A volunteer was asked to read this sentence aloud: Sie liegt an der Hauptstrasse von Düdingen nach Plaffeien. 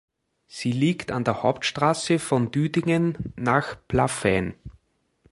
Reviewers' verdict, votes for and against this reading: accepted, 2, 0